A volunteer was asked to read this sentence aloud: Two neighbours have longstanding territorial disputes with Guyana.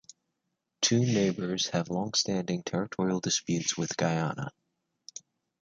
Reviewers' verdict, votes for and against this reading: rejected, 1, 2